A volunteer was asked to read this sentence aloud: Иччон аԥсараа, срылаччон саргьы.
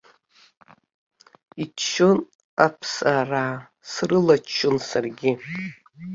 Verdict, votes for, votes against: rejected, 1, 2